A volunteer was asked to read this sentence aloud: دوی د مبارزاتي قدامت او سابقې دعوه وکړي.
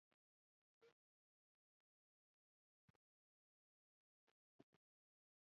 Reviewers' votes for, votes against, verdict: 1, 2, rejected